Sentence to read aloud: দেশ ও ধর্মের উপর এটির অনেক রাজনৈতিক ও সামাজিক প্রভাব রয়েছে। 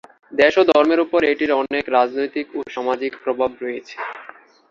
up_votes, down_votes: 2, 0